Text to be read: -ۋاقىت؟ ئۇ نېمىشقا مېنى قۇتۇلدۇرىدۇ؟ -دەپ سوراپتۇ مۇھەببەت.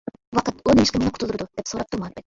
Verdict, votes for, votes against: rejected, 0, 2